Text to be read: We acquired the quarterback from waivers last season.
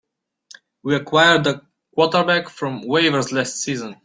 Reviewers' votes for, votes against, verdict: 2, 0, accepted